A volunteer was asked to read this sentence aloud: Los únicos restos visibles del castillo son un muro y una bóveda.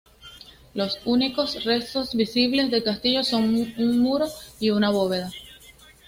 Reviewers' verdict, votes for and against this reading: accepted, 2, 0